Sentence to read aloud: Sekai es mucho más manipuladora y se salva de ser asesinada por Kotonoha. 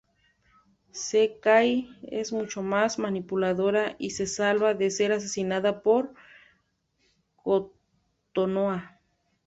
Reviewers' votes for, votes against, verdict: 1, 2, rejected